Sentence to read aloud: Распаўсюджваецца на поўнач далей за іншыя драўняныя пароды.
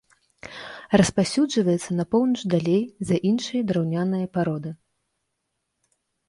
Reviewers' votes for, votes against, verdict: 2, 0, accepted